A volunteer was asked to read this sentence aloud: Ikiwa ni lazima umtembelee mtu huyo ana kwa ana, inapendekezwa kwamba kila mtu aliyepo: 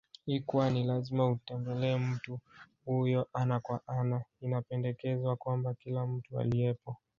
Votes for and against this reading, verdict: 1, 2, rejected